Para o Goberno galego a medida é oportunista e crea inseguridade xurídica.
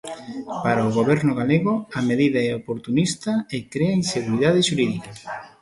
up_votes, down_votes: 2, 0